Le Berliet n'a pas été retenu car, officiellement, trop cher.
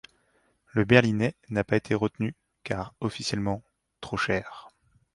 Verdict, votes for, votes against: rejected, 0, 2